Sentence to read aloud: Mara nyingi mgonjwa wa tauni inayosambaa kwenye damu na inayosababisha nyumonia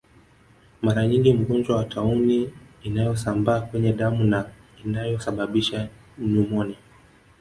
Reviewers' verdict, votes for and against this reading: rejected, 1, 2